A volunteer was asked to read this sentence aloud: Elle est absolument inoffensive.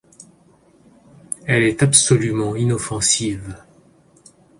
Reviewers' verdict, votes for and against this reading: accepted, 2, 0